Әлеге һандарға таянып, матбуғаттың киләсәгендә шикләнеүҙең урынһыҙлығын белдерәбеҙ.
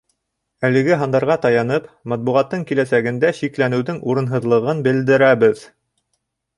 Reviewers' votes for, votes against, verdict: 3, 0, accepted